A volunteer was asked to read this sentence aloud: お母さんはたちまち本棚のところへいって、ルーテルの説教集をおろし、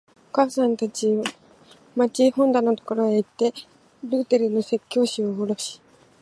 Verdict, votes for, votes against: accepted, 2, 0